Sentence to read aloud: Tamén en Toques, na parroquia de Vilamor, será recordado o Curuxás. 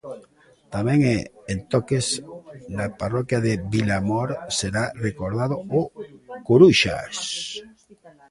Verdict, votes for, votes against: rejected, 0, 3